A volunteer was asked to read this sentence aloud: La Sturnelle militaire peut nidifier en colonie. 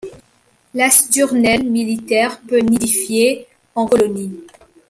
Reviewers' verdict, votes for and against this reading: accepted, 2, 0